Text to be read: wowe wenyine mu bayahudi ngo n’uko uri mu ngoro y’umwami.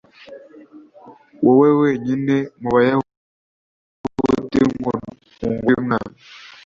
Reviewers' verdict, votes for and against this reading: rejected, 1, 2